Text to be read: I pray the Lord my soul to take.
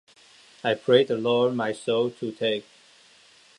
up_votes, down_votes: 2, 0